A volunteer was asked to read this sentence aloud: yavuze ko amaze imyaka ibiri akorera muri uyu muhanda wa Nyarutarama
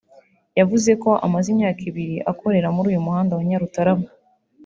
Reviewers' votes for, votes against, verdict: 3, 0, accepted